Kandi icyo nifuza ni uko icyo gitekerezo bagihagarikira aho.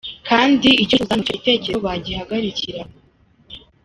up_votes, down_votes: 0, 2